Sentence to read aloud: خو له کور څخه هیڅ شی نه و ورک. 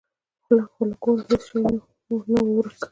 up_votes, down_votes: 2, 0